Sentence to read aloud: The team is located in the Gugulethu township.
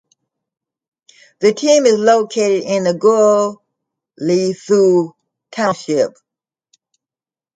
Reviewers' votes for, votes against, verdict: 2, 1, accepted